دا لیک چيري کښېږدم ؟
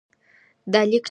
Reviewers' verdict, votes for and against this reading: rejected, 0, 2